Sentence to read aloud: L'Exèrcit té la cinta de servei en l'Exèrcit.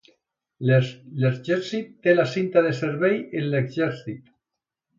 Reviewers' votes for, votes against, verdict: 1, 2, rejected